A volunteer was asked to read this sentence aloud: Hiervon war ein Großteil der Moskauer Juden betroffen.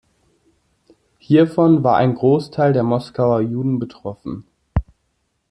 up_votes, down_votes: 2, 0